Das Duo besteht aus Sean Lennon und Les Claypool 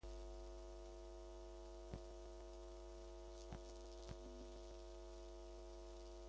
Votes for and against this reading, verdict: 0, 2, rejected